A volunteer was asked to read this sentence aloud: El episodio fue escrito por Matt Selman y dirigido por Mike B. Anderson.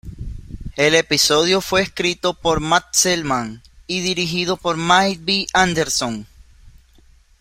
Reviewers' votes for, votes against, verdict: 2, 1, accepted